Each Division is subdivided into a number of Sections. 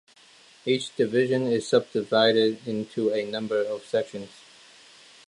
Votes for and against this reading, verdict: 2, 0, accepted